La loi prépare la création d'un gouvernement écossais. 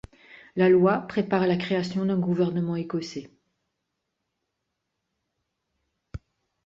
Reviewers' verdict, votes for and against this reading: accepted, 2, 0